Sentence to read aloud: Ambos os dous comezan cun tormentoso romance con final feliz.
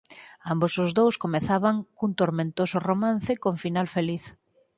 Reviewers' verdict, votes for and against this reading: rejected, 0, 4